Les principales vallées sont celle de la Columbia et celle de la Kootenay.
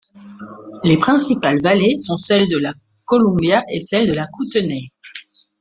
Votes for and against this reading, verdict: 2, 0, accepted